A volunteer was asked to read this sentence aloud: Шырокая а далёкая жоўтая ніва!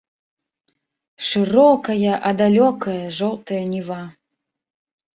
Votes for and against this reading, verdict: 0, 2, rejected